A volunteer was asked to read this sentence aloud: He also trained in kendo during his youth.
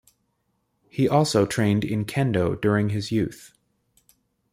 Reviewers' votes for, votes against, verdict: 1, 2, rejected